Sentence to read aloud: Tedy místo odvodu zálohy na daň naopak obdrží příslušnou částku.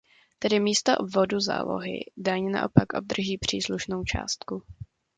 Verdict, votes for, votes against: rejected, 0, 2